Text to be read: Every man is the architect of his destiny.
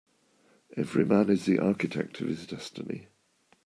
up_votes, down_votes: 2, 0